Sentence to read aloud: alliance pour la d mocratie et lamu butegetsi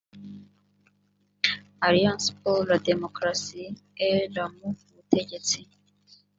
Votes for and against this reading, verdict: 1, 2, rejected